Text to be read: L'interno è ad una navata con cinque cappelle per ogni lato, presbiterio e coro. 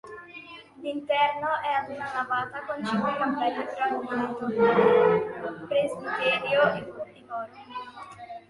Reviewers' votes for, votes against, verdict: 0, 2, rejected